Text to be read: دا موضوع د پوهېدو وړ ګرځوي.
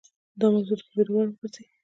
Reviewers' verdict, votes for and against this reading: rejected, 1, 2